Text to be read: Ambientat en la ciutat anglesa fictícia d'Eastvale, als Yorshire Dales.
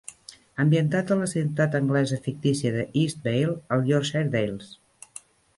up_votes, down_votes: 2, 0